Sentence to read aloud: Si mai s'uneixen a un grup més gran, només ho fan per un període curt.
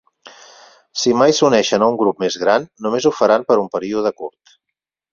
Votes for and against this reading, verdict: 0, 4, rejected